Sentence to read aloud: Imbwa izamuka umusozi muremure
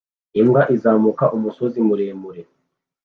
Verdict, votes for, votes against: accepted, 3, 0